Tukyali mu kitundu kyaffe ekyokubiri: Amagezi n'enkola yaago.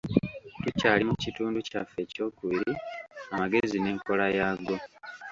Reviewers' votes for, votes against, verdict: 0, 2, rejected